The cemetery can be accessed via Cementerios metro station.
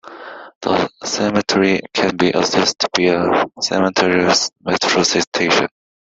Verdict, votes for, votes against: accepted, 2, 1